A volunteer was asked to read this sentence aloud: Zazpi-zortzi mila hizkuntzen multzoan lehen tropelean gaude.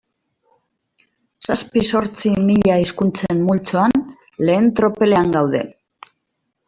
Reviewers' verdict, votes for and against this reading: accepted, 2, 1